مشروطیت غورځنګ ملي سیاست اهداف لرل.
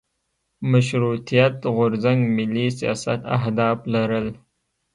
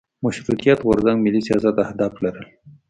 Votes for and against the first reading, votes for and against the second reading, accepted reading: 1, 2, 2, 0, second